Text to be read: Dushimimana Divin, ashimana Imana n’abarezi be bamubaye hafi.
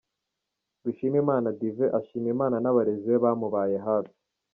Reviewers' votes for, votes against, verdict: 2, 3, rejected